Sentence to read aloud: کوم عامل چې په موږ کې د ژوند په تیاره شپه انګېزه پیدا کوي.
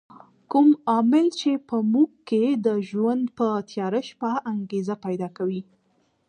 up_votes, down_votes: 2, 0